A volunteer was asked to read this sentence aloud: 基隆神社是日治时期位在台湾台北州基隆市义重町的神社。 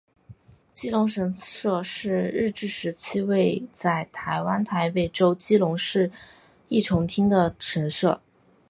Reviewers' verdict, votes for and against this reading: accepted, 2, 1